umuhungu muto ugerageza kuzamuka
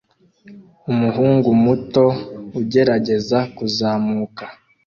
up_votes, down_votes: 2, 0